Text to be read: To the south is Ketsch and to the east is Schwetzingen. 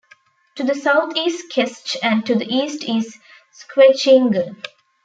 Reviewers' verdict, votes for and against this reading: rejected, 0, 2